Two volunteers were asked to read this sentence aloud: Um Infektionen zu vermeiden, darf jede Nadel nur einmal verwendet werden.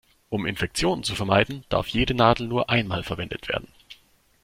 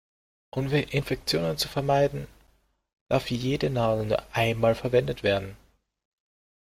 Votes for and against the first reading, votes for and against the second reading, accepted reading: 2, 0, 0, 2, first